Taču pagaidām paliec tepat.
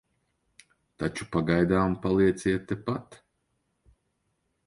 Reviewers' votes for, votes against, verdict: 0, 2, rejected